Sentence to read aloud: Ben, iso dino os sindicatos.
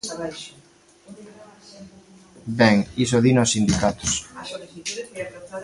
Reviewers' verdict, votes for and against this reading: accepted, 2, 1